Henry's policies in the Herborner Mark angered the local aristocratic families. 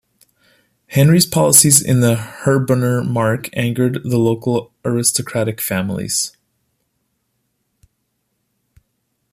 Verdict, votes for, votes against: accepted, 2, 0